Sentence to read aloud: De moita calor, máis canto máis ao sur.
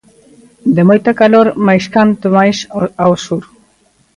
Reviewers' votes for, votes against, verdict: 1, 2, rejected